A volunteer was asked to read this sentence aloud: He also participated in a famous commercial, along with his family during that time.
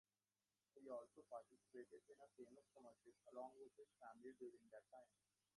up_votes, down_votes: 1, 2